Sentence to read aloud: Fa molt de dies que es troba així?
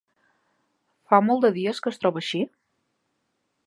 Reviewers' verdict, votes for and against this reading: accepted, 2, 0